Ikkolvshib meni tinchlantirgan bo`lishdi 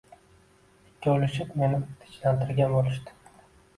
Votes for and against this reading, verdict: 2, 1, accepted